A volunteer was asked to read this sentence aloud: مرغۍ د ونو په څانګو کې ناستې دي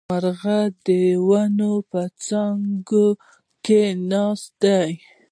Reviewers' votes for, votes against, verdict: 1, 2, rejected